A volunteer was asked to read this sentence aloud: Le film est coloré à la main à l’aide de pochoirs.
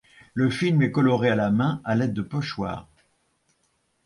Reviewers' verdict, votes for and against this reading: accepted, 2, 0